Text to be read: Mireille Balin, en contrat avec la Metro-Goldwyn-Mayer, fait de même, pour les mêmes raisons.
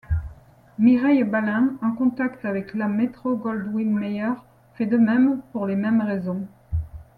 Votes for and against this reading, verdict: 1, 2, rejected